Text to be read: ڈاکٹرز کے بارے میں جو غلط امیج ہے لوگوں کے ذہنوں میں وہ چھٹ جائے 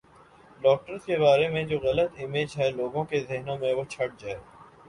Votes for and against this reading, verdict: 2, 0, accepted